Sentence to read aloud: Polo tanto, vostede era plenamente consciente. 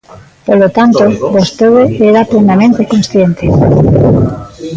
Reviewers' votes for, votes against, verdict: 0, 2, rejected